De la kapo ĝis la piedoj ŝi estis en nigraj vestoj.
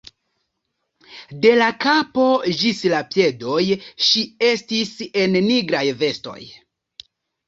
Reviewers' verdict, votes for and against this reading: accepted, 2, 0